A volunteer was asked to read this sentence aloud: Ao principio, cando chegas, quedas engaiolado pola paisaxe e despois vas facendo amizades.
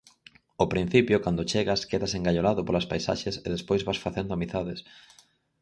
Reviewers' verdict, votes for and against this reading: rejected, 0, 4